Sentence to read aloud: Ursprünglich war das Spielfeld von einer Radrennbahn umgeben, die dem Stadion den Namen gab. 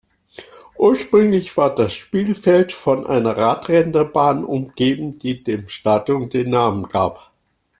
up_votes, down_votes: 0, 2